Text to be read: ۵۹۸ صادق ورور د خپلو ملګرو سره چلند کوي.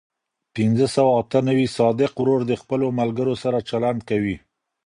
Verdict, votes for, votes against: rejected, 0, 2